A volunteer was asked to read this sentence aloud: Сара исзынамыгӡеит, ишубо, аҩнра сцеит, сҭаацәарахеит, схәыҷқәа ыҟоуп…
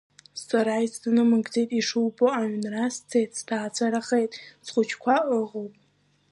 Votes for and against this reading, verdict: 2, 0, accepted